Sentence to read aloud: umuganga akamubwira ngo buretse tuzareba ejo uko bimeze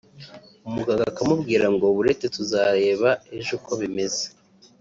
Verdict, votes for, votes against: accepted, 4, 0